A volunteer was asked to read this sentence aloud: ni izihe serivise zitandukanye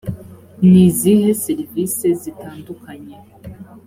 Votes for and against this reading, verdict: 2, 0, accepted